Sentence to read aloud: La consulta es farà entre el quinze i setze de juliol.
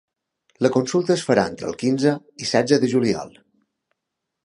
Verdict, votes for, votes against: accepted, 2, 0